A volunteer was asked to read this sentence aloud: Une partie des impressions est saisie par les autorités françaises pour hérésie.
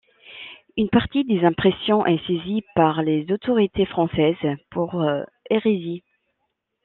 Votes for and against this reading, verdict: 0, 2, rejected